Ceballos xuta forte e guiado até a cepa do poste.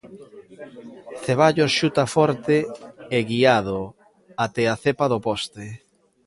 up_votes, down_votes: 0, 2